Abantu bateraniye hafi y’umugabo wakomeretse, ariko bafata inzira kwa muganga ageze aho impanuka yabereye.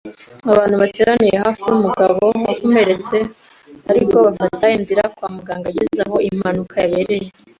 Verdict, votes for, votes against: accepted, 2, 0